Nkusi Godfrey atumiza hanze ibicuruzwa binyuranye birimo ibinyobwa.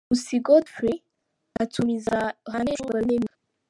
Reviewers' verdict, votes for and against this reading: rejected, 0, 2